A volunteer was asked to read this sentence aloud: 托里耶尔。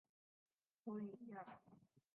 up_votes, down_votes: 0, 2